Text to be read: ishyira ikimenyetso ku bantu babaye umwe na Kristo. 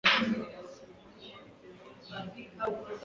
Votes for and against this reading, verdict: 1, 2, rejected